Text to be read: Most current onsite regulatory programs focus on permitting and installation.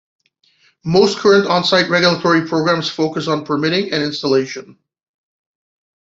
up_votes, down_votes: 2, 1